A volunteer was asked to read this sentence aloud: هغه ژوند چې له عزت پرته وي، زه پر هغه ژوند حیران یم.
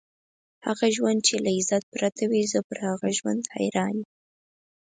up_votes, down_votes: 6, 0